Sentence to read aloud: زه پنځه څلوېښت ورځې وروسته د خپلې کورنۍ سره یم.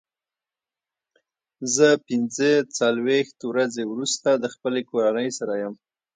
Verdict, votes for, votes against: rejected, 1, 2